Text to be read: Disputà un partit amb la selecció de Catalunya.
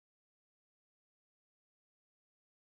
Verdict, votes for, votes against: rejected, 0, 2